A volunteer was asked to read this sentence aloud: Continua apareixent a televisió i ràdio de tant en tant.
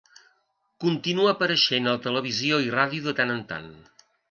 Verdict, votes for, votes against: accepted, 2, 0